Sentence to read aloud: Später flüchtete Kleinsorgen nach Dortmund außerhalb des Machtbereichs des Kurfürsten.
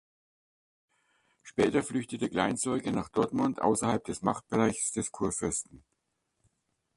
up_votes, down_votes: 2, 1